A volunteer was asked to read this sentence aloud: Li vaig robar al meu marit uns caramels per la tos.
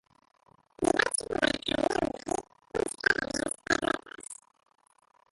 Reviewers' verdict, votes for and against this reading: rejected, 0, 3